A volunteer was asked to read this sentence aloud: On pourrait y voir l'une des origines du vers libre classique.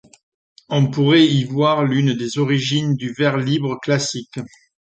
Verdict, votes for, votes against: accepted, 2, 0